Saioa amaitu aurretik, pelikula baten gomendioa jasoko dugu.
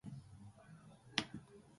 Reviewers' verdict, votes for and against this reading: rejected, 0, 4